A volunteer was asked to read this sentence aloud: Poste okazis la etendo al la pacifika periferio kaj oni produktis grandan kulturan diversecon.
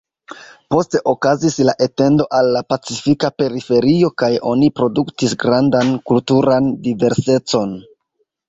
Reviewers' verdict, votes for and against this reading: accepted, 2, 1